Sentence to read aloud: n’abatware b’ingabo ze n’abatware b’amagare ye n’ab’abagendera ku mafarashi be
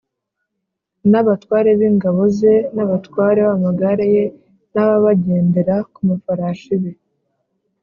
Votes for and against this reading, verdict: 2, 0, accepted